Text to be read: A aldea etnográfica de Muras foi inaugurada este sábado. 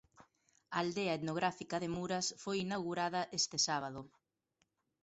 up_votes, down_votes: 0, 2